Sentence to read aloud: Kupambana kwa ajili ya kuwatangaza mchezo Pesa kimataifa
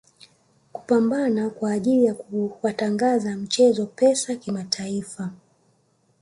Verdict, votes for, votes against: accepted, 2, 1